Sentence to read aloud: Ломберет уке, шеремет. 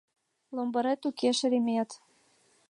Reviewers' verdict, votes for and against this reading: accepted, 2, 0